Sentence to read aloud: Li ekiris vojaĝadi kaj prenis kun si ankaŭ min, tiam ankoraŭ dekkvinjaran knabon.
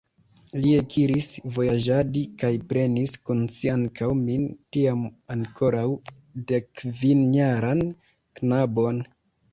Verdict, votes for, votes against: accepted, 3, 0